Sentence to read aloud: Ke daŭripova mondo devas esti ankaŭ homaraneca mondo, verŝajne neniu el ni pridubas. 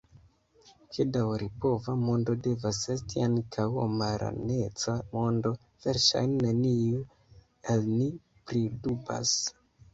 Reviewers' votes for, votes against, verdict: 0, 2, rejected